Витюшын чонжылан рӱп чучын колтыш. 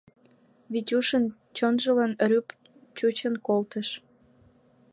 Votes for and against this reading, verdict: 2, 1, accepted